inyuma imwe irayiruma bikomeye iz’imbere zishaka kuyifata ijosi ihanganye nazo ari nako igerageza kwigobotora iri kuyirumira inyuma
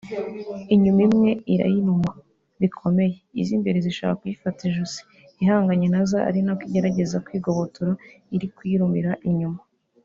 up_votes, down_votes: 2, 0